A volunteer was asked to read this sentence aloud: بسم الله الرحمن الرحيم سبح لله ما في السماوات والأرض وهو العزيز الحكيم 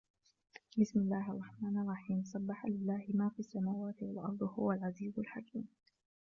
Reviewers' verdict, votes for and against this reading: rejected, 1, 2